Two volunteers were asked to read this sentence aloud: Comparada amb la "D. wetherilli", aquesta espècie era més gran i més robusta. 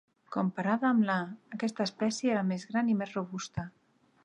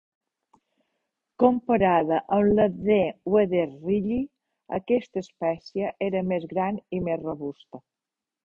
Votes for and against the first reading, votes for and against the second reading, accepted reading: 0, 2, 2, 0, second